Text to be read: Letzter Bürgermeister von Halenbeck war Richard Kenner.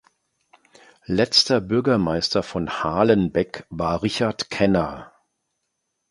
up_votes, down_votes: 2, 0